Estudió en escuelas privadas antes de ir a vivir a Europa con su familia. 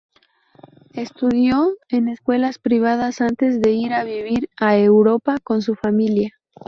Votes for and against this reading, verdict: 0, 2, rejected